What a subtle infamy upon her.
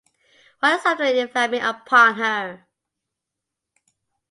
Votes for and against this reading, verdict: 0, 2, rejected